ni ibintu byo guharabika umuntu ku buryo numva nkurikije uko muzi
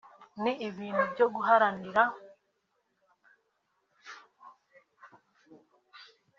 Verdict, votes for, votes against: rejected, 0, 3